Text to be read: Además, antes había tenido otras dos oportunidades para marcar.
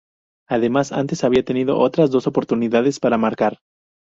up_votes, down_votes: 4, 0